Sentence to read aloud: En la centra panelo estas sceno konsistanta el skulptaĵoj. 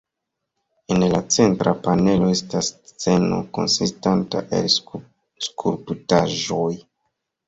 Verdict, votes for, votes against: rejected, 1, 2